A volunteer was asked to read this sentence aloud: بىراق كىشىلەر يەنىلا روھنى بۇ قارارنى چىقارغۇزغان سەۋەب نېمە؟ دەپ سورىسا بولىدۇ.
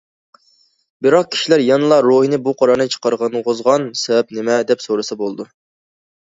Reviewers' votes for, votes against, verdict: 1, 2, rejected